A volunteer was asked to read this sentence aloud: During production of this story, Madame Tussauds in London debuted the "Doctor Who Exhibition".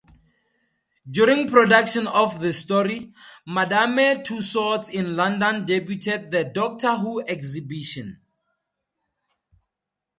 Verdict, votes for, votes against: accepted, 2, 0